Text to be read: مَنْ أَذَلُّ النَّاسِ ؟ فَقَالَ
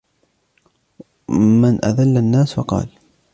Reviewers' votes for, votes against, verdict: 2, 0, accepted